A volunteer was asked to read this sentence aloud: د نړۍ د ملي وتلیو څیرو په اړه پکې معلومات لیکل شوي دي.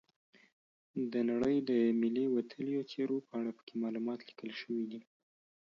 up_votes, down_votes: 2, 0